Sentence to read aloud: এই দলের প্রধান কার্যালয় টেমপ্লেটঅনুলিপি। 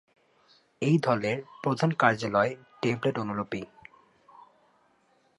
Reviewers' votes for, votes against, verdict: 2, 0, accepted